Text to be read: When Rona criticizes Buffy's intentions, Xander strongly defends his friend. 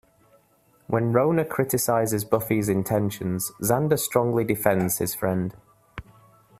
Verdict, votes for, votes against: accepted, 2, 0